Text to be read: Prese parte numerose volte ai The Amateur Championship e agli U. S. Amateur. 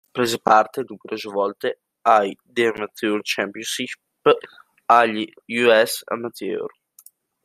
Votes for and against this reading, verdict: 0, 2, rejected